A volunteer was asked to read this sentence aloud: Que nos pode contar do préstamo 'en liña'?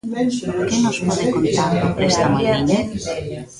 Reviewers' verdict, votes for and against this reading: rejected, 0, 2